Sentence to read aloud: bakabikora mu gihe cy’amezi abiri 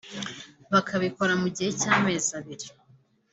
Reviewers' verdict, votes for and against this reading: accepted, 2, 0